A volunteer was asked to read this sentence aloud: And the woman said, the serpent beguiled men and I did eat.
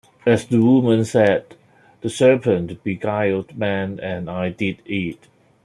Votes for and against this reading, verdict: 1, 2, rejected